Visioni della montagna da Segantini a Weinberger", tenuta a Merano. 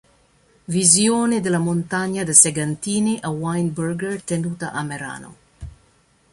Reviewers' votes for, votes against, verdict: 1, 2, rejected